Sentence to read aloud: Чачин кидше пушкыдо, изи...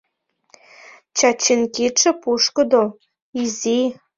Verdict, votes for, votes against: accepted, 2, 0